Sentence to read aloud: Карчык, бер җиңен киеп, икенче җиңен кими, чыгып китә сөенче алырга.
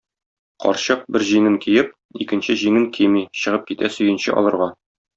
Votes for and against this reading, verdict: 2, 0, accepted